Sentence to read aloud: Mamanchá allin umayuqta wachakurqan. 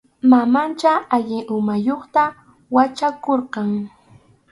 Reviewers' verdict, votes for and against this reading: accepted, 4, 0